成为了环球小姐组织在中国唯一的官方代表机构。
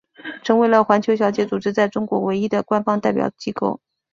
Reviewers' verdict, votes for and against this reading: accepted, 3, 0